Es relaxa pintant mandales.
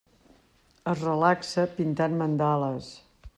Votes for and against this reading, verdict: 3, 0, accepted